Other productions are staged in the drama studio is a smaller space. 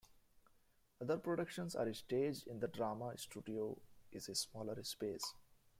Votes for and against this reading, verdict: 0, 2, rejected